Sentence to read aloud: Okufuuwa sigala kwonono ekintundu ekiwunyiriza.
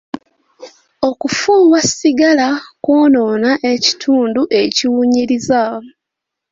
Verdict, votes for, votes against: rejected, 1, 2